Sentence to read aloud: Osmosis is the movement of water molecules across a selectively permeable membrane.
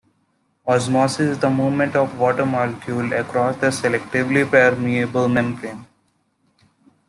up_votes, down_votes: 2, 0